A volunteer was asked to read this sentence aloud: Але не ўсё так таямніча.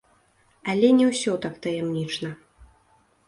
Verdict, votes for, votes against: rejected, 0, 2